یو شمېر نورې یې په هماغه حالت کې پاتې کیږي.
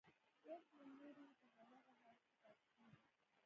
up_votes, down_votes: 0, 2